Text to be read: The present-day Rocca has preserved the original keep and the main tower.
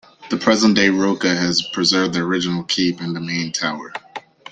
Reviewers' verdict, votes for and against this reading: accepted, 2, 0